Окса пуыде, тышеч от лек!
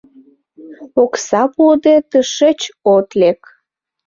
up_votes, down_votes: 2, 0